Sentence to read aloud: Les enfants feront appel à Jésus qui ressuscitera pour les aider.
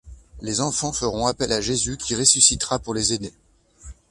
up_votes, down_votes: 2, 0